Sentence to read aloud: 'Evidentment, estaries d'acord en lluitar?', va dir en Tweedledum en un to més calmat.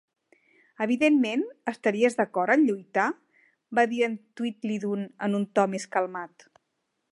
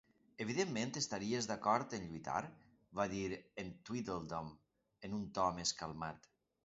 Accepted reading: second